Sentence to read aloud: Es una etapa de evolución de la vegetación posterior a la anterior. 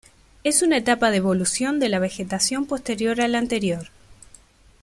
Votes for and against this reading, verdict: 2, 0, accepted